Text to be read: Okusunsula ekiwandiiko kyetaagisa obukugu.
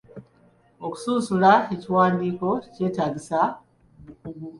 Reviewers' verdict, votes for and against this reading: accepted, 3, 0